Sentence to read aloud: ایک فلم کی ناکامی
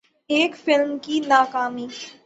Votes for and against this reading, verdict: 3, 3, rejected